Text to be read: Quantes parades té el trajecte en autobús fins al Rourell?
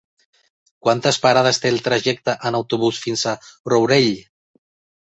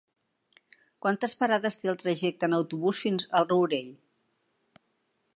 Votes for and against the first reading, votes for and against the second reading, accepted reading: 2, 1, 0, 2, first